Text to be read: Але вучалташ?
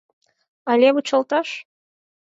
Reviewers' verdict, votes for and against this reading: accepted, 10, 0